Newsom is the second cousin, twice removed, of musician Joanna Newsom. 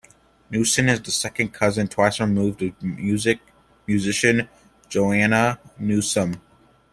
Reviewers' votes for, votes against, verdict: 1, 2, rejected